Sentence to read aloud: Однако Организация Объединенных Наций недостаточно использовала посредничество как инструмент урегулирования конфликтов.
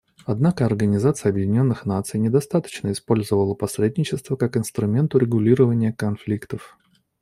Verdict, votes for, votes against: rejected, 1, 2